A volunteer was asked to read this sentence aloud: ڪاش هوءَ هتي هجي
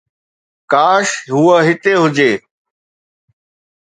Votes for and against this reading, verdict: 2, 0, accepted